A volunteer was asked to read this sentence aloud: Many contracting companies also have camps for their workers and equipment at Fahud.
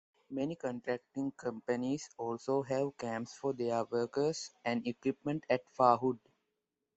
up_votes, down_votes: 2, 0